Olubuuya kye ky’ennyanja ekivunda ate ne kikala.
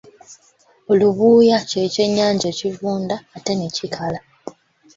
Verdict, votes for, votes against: accepted, 3, 0